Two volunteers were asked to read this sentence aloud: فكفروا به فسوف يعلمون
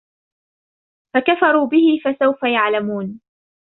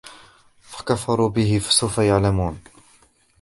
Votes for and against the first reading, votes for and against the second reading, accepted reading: 2, 1, 0, 2, first